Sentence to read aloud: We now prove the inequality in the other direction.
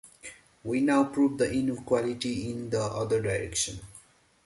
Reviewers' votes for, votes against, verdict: 1, 2, rejected